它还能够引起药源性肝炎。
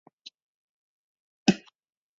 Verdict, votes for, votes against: rejected, 0, 3